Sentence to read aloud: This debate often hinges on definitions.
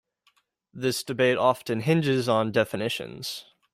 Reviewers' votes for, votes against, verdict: 2, 0, accepted